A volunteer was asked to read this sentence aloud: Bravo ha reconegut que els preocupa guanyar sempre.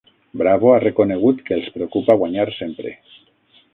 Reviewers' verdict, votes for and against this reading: rejected, 3, 6